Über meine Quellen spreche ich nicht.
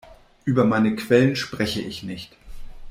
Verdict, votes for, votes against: accepted, 2, 0